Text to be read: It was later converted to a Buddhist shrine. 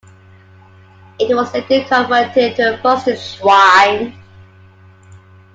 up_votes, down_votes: 0, 2